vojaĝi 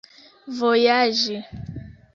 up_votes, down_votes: 1, 2